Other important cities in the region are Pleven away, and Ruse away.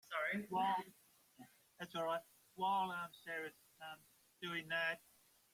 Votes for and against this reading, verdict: 0, 2, rejected